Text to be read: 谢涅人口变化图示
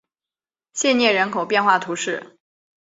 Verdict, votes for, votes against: accepted, 2, 0